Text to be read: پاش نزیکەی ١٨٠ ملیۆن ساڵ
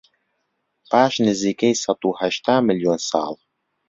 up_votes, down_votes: 0, 2